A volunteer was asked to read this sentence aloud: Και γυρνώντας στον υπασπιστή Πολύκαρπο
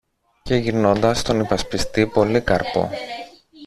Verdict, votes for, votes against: accepted, 2, 0